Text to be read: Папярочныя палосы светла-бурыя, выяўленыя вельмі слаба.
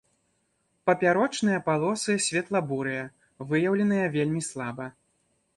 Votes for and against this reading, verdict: 2, 0, accepted